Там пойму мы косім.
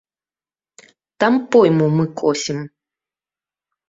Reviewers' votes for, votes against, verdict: 2, 0, accepted